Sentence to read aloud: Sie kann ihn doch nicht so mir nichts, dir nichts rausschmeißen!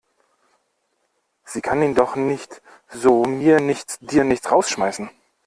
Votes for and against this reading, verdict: 2, 0, accepted